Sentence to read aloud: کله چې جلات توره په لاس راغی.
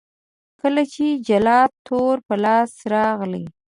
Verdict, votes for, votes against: rejected, 0, 2